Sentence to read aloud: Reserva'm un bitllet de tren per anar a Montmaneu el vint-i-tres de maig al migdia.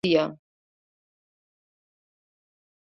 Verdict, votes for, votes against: rejected, 0, 2